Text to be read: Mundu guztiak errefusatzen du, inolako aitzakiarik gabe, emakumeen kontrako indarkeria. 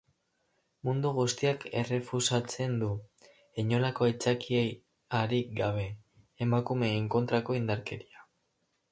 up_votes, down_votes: 0, 4